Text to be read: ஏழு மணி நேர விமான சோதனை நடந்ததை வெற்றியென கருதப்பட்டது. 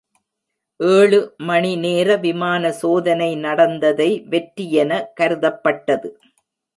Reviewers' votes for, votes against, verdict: 2, 0, accepted